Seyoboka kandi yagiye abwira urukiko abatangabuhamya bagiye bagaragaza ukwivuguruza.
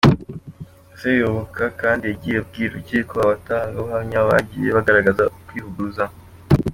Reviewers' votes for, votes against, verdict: 2, 1, accepted